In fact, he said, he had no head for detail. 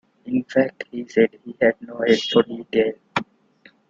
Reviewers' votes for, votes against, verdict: 2, 1, accepted